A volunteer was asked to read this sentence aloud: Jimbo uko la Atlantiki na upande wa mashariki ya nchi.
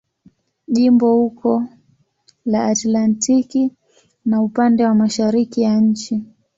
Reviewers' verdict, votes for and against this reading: accepted, 2, 0